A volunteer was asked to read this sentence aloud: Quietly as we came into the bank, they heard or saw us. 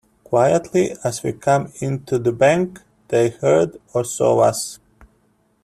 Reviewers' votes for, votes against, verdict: 0, 2, rejected